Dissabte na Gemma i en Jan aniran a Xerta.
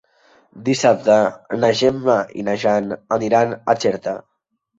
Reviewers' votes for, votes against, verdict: 1, 2, rejected